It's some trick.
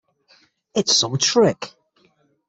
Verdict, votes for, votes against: accepted, 6, 0